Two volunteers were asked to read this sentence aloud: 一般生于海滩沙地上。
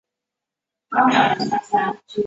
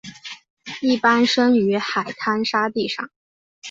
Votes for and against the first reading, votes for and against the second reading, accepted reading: 0, 2, 2, 1, second